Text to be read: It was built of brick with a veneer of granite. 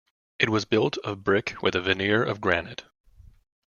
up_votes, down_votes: 2, 1